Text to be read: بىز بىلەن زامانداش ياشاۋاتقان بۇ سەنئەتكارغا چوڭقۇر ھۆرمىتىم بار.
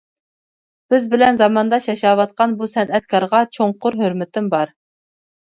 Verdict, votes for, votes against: accepted, 2, 0